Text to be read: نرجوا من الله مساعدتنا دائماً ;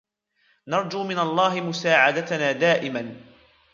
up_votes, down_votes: 4, 0